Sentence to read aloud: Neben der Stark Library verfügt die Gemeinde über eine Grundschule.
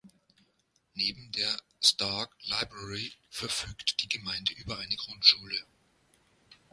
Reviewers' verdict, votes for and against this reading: accepted, 2, 0